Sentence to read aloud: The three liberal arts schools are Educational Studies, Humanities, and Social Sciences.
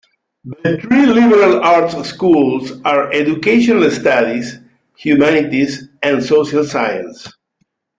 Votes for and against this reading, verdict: 2, 0, accepted